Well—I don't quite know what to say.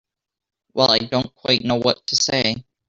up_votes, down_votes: 2, 0